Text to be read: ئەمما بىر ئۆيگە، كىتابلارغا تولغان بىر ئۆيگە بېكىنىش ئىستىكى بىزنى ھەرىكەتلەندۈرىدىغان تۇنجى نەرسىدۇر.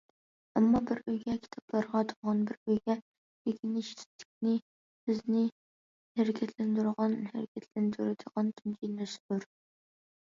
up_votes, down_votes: 0, 2